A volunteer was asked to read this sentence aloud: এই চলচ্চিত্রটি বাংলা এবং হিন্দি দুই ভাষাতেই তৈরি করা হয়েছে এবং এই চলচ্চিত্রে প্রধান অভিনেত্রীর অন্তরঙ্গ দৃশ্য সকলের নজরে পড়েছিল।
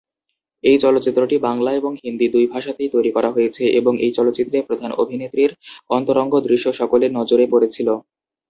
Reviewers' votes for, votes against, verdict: 0, 2, rejected